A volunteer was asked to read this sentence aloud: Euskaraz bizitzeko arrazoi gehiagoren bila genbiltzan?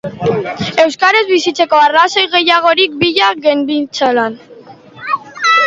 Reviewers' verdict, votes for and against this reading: rejected, 1, 2